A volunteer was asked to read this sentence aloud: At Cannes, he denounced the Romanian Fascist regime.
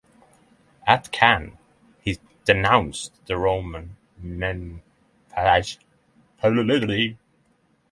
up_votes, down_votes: 3, 3